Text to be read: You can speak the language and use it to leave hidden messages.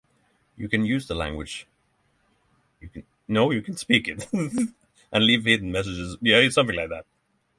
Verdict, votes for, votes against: rejected, 0, 3